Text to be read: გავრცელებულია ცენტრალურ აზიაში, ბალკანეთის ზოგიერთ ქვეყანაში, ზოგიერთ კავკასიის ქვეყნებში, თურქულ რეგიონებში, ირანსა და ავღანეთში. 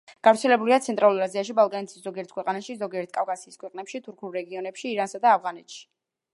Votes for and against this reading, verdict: 1, 2, rejected